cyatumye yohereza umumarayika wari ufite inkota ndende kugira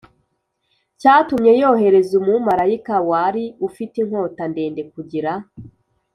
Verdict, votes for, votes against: accepted, 2, 0